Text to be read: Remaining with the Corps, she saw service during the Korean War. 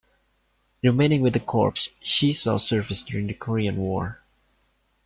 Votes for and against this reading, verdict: 2, 0, accepted